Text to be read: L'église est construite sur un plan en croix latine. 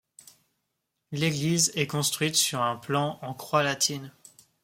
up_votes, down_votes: 2, 0